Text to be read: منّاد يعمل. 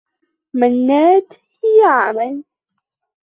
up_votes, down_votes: 2, 0